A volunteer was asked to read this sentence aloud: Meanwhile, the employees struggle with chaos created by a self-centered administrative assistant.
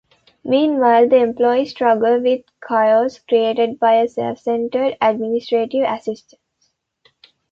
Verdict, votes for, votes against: accepted, 2, 1